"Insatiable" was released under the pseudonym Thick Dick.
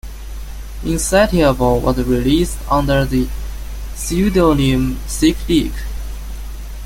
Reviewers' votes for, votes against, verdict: 0, 2, rejected